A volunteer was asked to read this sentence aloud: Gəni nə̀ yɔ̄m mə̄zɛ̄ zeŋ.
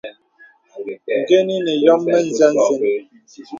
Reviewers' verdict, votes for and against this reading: accepted, 2, 0